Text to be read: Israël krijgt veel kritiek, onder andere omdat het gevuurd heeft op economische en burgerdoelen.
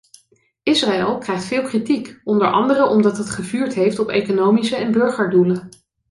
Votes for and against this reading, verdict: 2, 0, accepted